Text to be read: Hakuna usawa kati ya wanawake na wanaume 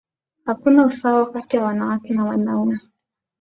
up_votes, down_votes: 5, 0